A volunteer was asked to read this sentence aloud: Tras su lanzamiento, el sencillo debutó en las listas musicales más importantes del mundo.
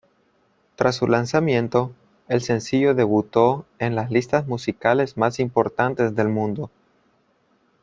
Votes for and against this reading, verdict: 2, 0, accepted